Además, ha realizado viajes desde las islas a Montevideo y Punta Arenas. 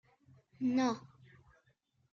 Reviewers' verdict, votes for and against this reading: rejected, 0, 2